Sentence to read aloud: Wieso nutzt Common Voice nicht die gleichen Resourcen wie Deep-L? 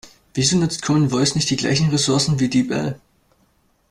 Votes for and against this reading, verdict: 2, 0, accepted